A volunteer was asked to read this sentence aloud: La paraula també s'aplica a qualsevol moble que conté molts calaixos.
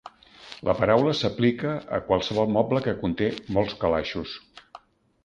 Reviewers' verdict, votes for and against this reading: rejected, 1, 2